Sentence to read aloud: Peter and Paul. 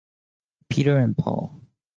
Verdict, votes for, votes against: accepted, 2, 0